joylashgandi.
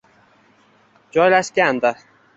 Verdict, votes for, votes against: rejected, 1, 2